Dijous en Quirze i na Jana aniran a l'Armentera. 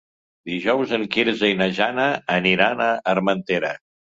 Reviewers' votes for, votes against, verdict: 0, 2, rejected